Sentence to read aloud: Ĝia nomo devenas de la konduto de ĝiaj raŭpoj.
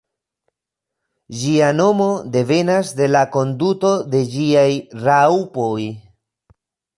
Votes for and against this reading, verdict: 1, 2, rejected